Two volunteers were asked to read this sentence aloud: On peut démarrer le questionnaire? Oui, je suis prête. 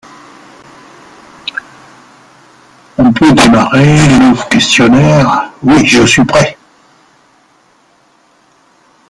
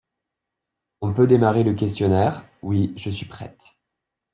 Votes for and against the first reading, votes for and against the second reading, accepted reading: 0, 2, 2, 0, second